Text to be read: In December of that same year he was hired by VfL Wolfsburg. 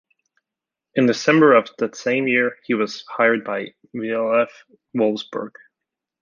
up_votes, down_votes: 0, 2